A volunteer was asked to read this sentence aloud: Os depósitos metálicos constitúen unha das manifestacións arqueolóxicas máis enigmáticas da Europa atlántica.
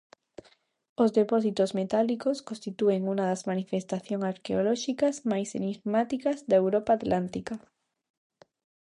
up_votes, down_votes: 0, 2